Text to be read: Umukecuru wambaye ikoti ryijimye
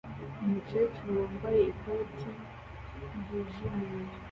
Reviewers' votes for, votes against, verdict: 2, 1, accepted